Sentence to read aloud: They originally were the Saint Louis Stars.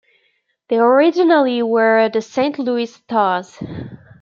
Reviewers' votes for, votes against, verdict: 2, 0, accepted